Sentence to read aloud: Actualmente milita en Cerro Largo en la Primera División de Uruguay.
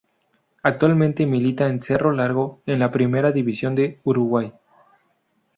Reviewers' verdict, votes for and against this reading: accepted, 2, 0